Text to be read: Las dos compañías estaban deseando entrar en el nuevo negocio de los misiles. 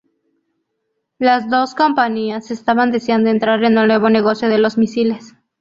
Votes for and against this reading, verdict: 6, 0, accepted